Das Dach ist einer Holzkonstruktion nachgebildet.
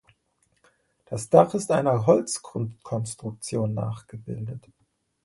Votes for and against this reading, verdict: 1, 2, rejected